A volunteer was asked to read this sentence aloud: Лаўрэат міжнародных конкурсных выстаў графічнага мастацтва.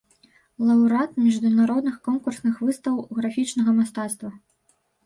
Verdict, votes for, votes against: rejected, 2, 4